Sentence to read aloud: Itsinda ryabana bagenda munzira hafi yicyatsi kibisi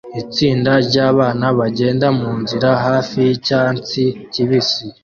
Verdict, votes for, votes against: accepted, 2, 0